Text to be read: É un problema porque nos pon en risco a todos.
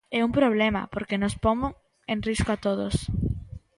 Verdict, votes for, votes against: rejected, 1, 2